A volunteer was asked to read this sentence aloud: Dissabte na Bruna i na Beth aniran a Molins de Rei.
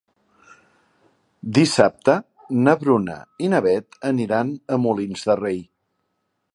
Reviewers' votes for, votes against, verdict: 3, 0, accepted